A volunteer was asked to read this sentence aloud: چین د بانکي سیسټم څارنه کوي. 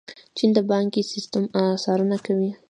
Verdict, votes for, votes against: accepted, 2, 0